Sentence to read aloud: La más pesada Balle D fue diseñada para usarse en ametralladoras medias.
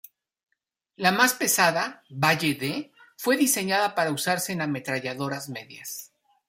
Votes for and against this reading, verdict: 2, 0, accepted